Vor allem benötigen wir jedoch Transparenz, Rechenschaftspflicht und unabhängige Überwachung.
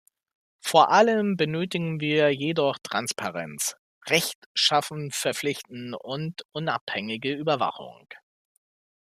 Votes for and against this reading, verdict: 0, 2, rejected